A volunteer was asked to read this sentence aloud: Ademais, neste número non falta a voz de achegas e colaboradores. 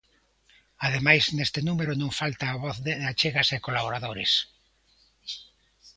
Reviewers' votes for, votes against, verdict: 2, 0, accepted